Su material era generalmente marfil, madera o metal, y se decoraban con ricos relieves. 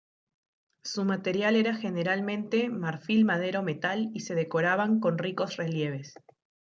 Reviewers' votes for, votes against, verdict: 2, 0, accepted